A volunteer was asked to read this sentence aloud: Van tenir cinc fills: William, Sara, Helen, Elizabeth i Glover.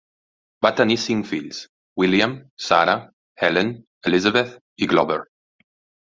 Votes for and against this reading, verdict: 0, 2, rejected